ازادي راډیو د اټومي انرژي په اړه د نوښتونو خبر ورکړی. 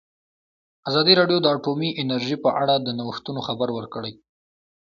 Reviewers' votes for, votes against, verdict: 1, 2, rejected